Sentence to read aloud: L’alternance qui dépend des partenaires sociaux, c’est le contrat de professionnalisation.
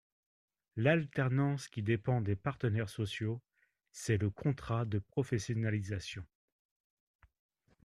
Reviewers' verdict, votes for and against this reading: accepted, 2, 0